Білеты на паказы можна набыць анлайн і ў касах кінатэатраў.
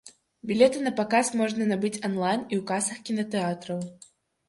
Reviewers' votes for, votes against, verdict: 0, 2, rejected